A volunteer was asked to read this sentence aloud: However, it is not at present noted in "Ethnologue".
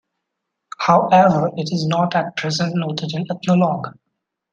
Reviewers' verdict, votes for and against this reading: accepted, 2, 0